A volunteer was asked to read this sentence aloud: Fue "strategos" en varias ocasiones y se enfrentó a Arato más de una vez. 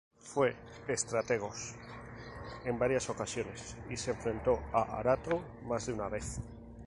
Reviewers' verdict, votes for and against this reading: accepted, 2, 0